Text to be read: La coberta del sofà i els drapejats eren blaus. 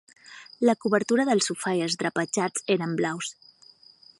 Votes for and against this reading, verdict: 3, 6, rejected